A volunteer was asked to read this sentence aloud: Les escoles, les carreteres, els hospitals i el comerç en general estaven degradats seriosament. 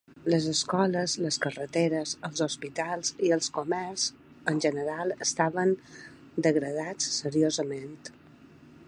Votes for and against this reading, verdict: 0, 2, rejected